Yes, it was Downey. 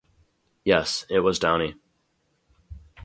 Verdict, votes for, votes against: rejected, 2, 2